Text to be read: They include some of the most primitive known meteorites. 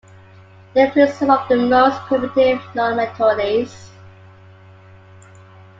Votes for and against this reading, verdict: 0, 2, rejected